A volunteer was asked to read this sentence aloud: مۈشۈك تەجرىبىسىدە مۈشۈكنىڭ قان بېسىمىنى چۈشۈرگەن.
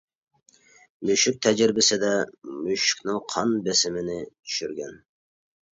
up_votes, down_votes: 2, 0